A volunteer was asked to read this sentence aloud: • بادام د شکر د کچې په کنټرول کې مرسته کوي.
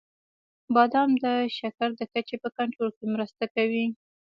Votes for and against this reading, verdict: 1, 2, rejected